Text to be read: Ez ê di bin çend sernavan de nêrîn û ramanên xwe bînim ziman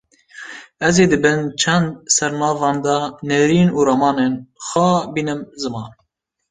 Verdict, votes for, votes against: accepted, 2, 0